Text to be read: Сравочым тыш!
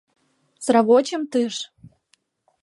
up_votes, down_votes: 0, 2